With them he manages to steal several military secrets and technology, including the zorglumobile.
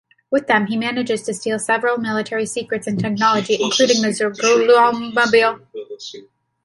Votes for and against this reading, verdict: 0, 2, rejected